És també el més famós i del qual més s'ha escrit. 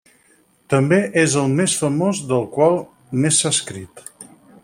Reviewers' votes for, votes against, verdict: 2, 4, rejected